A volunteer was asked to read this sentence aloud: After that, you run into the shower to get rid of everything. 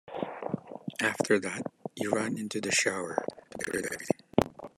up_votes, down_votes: 1, 2